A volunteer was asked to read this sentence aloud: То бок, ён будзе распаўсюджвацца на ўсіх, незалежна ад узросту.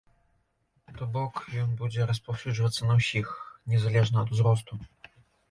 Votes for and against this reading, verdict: 2, 0, accepted